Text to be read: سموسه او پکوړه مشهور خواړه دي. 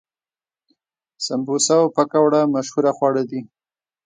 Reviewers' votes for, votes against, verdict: 1, 2, rejected